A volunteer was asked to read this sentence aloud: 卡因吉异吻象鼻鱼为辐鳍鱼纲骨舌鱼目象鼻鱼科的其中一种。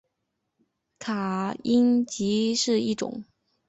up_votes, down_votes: 0, 2